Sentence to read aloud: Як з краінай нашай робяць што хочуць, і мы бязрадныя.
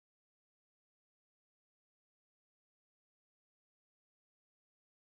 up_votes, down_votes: 1, 2